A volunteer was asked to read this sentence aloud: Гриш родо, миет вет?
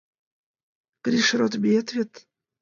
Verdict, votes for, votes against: accepted, 2, 0